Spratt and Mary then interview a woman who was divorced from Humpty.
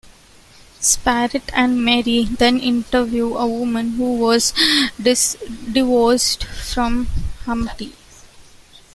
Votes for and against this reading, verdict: 0, 2, rejected